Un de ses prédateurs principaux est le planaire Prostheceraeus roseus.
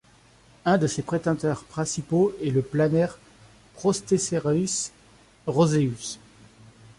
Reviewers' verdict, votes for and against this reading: rejected, 0, 2